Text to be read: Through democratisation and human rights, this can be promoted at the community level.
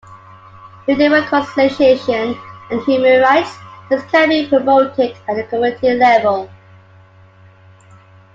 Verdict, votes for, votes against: accepted, 2, 1